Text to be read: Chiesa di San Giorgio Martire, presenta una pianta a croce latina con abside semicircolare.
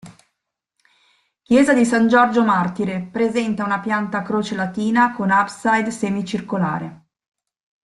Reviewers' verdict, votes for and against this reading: rejected, 0, 2